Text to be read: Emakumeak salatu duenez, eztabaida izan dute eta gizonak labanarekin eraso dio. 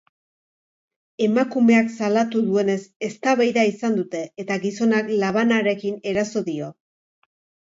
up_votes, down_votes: 4, 0